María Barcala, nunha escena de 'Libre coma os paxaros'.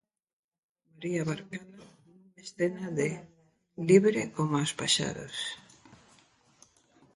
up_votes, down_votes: 0, 2